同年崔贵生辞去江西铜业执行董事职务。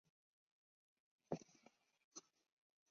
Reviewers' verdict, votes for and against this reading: rejected, 0, 6